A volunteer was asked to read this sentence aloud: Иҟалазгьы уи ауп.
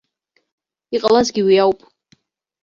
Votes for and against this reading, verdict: 1, 2, rejected